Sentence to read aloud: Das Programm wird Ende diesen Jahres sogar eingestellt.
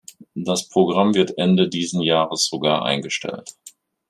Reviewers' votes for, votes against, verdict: 2, 0, accepted